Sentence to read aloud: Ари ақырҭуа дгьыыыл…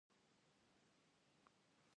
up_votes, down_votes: 0, 2